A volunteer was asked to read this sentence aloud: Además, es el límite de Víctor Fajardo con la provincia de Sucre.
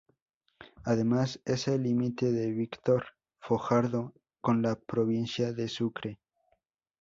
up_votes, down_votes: 6, 2